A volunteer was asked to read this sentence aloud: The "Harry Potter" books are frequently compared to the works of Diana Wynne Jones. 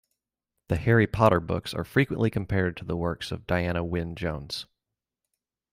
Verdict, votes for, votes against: accepted, 2, 0